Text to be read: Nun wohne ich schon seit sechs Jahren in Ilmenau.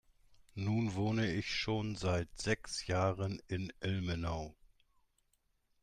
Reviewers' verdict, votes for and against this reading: accepted, 2, 0